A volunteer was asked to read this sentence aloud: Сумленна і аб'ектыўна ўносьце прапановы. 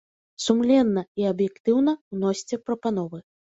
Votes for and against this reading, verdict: 2, 0, accepted